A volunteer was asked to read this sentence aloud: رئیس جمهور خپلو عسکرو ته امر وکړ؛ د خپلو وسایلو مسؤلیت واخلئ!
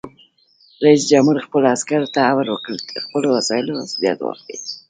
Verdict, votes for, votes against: accepted, 2, 0